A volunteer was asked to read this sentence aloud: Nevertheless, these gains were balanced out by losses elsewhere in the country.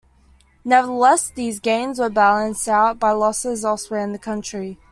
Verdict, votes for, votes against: accepted, 2, 0